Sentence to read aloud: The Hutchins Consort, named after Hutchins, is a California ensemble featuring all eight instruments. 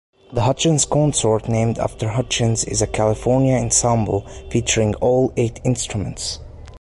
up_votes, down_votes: 2, 0